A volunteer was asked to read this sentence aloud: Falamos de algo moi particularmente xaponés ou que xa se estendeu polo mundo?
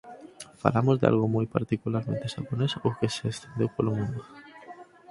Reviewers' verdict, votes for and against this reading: rejected, 0, 4